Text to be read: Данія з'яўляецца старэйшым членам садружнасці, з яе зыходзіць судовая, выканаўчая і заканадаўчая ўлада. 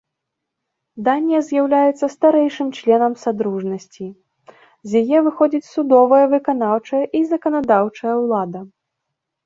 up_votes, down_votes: 0, 2